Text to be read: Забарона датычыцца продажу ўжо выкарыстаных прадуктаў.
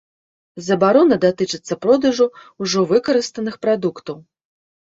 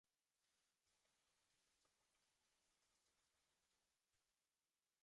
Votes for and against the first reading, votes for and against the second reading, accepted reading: 2, 0, 1, 2, first